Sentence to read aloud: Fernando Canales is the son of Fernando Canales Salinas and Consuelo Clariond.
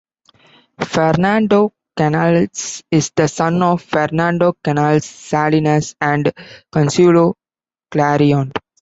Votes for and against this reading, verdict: 0, 2, rejected